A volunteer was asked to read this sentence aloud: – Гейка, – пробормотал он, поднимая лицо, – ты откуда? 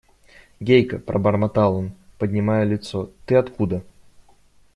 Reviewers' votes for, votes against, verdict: 2, 0, accepted